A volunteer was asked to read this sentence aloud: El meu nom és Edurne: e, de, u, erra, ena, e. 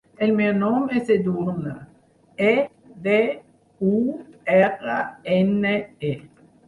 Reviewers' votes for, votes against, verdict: 4, 0, accepted